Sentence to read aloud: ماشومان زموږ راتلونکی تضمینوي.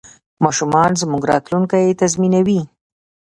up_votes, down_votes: 1, 2